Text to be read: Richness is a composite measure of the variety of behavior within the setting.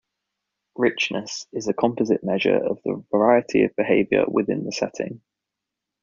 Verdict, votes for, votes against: accepted, 2, 0